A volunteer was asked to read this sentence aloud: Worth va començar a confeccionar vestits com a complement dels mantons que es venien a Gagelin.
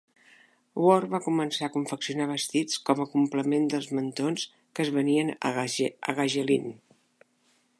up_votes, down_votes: 0, 2